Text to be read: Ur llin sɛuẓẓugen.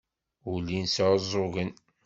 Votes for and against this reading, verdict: 2, 0, accepted